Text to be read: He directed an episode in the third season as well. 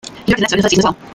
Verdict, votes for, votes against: rejected, 0, 2